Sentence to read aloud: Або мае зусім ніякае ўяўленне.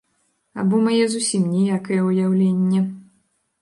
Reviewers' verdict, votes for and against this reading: rejected, 1, 2